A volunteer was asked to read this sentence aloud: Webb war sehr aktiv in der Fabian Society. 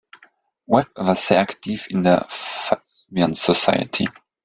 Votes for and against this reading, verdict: 2, 1, accepted